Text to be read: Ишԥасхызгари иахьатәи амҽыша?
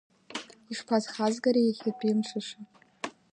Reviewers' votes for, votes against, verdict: 0, 2, rejected